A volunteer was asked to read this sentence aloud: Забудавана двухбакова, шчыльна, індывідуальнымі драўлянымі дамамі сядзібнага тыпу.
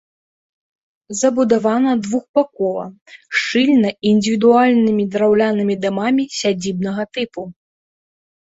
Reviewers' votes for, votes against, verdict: 0, 2, rejected